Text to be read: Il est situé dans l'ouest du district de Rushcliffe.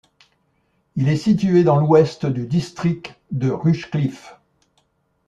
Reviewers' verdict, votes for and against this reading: accepted, 2, 0